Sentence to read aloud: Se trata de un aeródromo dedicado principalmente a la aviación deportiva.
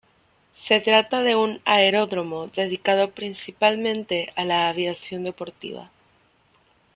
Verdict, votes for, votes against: accepted, 2, 1